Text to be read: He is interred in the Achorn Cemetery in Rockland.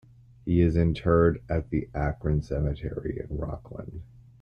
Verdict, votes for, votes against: rejected, 0, 2